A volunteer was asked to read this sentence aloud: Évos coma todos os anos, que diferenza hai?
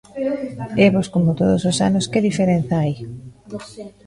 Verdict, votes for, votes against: rejected, 0, 2